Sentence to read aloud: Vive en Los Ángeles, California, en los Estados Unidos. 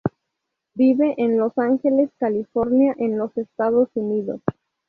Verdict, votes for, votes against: accepted, 2, 0